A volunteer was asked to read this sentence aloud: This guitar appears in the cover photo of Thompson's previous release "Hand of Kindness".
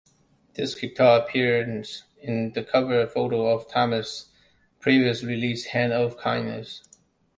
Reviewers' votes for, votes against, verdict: 0, 2, rejected